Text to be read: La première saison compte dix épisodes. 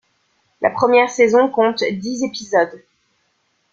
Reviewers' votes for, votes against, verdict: 2, 0, accepted